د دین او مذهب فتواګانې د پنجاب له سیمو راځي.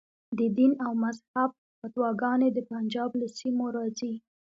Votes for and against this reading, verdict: 2, 1, accepted